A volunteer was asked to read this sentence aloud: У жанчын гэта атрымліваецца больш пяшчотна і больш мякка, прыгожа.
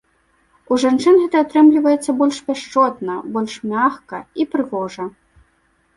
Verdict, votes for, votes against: rejected, 0, 2